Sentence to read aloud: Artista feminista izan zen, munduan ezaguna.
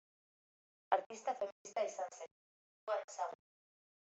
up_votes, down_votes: 0, 2